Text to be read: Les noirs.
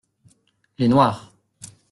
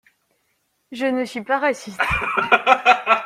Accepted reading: first